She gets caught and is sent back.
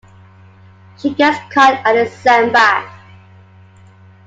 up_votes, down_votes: 2, 1